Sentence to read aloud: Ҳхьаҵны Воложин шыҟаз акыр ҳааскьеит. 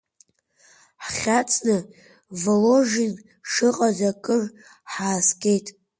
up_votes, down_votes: 2, 1